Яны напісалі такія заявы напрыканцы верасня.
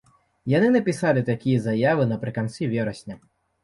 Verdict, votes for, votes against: accepted, 2, 0